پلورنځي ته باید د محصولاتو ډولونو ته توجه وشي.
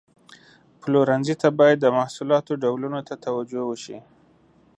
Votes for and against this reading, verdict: 2, 0, accepted